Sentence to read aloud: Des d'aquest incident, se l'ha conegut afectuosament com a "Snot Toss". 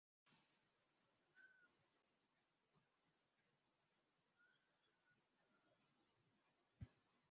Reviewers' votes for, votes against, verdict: 1, 2, rejected